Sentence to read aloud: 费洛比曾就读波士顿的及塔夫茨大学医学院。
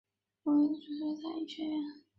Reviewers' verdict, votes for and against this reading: accepted, 2, 1